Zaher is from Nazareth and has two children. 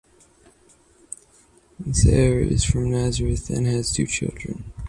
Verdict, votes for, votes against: rejected, 2, 2